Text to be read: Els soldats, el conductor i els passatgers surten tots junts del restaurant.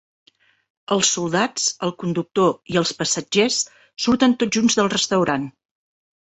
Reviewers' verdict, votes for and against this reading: accepted, 7, 0